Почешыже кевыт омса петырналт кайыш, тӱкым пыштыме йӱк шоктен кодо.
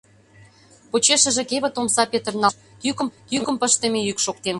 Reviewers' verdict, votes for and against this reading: rejected, 0, 2